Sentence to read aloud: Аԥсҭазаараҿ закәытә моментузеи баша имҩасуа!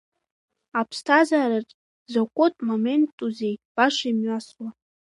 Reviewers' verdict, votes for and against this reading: accepted, 2, 1